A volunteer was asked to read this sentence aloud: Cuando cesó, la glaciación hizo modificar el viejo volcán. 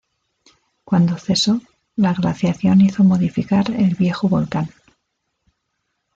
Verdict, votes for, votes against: accepted, 2, 0